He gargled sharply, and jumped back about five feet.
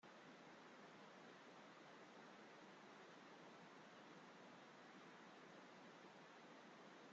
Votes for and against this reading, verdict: 0, 2, rejected